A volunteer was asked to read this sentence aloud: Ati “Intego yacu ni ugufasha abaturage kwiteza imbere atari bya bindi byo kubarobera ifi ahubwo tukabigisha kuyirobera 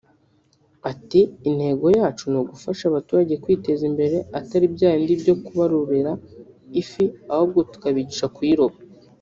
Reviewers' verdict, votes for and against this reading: rejected, 0, 2